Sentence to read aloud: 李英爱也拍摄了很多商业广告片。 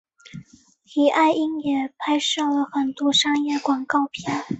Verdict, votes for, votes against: accepted, 2, 1